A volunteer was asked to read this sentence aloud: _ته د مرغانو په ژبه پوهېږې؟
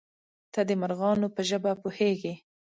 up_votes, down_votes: 2, 0